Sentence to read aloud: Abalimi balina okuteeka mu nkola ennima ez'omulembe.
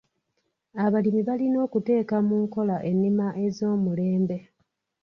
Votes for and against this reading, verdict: 1, 2, rejected